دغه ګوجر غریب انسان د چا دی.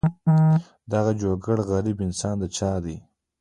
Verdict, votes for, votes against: accepted, 2, 1